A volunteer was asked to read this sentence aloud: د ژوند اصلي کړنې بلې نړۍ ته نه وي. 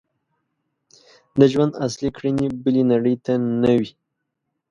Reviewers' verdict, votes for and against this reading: accepted, 2, 0